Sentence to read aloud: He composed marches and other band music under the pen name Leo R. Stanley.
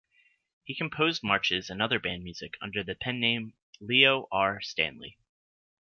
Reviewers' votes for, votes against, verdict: 2, 0, accepted